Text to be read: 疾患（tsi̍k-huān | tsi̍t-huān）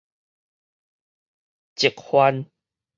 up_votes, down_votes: 2, 0